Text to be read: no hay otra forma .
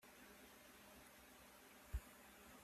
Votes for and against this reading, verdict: 0, 3, rejected